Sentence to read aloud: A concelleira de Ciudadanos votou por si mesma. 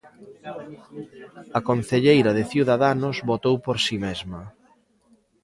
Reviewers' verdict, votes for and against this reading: rejected, 1, 2